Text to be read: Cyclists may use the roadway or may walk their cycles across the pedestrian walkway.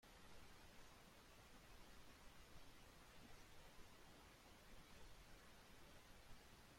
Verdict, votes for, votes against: rejected, 0, 2